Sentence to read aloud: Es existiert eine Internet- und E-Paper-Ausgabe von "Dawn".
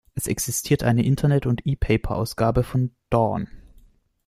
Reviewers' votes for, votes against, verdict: 2, 0, accepted